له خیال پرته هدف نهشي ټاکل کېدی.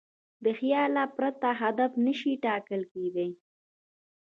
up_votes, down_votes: 2, 0